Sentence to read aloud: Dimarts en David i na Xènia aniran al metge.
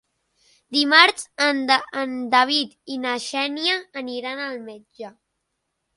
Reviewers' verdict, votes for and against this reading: rejected, 0, 3